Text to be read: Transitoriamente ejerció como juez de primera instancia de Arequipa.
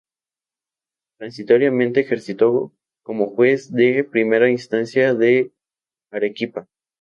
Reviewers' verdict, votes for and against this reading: rejected, 2, 2